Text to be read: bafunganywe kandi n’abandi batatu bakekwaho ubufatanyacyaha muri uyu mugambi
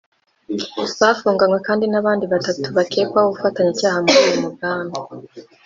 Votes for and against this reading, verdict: 0, 3, rejected